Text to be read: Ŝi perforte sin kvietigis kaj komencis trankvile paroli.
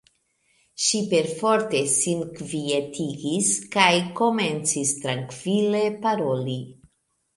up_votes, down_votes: 3, 0